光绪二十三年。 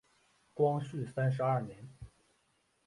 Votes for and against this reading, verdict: 0, 3, rejected